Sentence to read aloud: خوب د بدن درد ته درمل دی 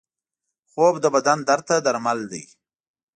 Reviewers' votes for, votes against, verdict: 2, 0, accepted